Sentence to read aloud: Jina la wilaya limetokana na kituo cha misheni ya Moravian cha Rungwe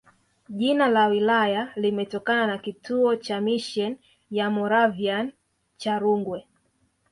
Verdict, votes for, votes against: accepted, 2, 0